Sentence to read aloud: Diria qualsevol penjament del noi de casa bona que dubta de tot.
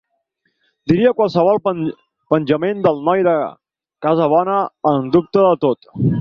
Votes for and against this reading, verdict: 0, 4, rejected